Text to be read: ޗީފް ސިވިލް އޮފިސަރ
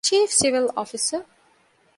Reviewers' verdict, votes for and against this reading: accepted, 2, 0